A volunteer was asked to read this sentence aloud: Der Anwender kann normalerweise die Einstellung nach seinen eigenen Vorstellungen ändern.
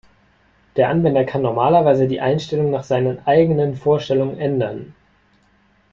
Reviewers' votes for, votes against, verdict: 2, 0, accepted